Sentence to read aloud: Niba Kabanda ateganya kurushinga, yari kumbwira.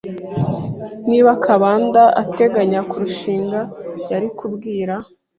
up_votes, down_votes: 1, 2